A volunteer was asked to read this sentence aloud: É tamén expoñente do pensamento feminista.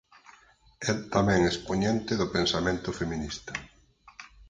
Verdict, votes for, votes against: accepted, 4, 2